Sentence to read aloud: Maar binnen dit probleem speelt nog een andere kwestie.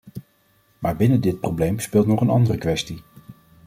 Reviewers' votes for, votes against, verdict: 2, 0, accepted